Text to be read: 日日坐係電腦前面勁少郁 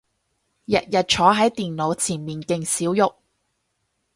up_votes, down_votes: 2, 2